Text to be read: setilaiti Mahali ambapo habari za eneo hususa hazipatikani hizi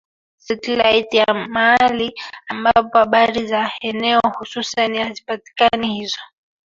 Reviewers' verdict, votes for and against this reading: rejected, 0, 2